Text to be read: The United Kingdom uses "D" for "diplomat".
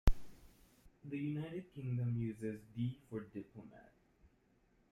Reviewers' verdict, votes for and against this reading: rejected, 0, 2